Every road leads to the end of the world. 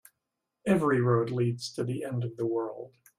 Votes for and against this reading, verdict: 2, 0, accepted